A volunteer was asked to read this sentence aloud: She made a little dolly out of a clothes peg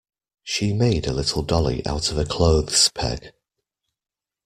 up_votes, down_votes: 2, 0